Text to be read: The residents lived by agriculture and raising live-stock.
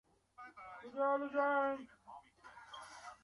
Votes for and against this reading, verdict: 0, 2, rejected